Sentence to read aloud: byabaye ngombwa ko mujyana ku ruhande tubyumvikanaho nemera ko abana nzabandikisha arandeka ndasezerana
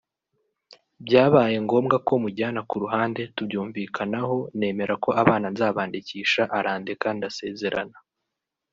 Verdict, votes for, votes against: accepted, 3, 0